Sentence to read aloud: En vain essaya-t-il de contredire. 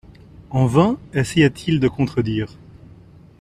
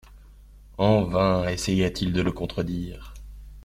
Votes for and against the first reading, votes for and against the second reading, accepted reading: 2, 0, 0, 2, first